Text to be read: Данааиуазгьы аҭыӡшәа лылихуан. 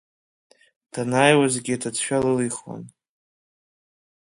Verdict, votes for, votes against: accepted, 2, 0